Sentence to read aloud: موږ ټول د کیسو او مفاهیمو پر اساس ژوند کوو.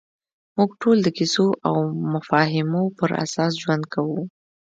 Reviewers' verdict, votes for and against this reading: accepted, 2, 0